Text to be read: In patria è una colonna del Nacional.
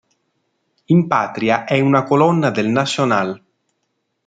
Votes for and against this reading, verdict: 2, 1, accepted